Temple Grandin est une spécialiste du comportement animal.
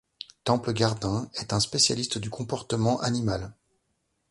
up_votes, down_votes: 0, 2